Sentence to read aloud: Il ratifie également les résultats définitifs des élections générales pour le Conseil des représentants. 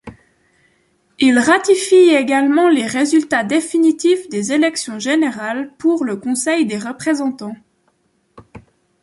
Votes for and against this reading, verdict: 2, 0, accepted